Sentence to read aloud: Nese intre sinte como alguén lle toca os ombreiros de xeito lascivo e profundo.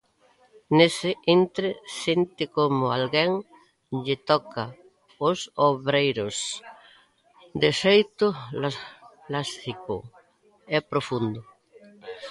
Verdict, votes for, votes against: rejected, 0, 2